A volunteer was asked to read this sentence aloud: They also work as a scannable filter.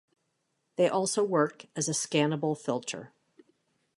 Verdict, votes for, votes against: accepted, 3, 0